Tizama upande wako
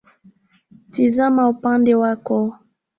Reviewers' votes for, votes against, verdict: 2, 1, accepted